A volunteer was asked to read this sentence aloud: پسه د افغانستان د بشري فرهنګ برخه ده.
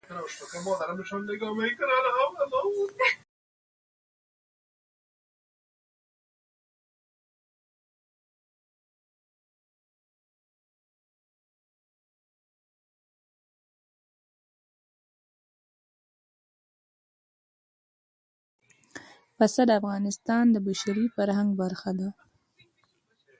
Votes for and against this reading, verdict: 0, 2, rejected